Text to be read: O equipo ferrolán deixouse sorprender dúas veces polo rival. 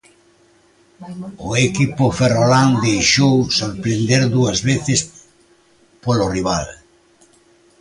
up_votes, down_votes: 0, 2